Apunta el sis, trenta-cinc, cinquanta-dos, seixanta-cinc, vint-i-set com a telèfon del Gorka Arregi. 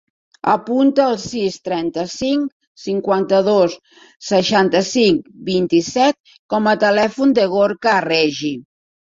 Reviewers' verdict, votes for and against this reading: rejected, 1, 2